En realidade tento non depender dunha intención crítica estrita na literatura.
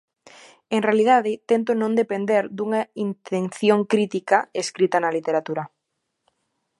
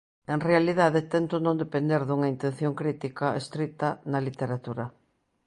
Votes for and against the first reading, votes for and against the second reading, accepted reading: 0, 2, 2, 0, second